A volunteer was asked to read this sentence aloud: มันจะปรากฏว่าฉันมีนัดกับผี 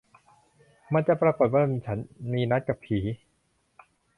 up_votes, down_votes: 1, 2